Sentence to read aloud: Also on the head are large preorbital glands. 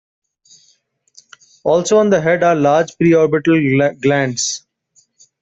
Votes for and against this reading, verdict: 2, 1, accepted